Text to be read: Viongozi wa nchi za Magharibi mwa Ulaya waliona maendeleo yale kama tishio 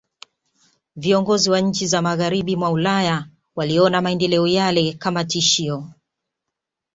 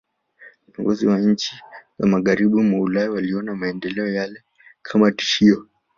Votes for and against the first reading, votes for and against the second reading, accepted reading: 2, 0, 1, 2, first